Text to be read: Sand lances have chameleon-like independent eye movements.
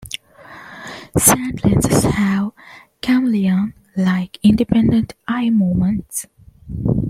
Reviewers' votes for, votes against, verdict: 0, 2, rejected